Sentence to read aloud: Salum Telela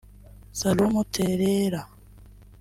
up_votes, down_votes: 0, 2